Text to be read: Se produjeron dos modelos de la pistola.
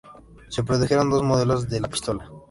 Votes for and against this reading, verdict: 2, 0, accepted